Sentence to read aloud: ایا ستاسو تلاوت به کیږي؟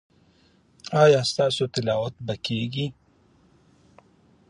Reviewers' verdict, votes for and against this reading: accepted, 2, 0